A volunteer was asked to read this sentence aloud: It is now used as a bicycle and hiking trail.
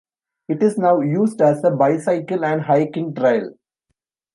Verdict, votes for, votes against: accepted, 2, 0